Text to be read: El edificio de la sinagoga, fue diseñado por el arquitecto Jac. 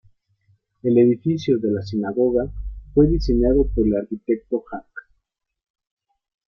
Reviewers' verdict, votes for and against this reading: accepted, 2, 0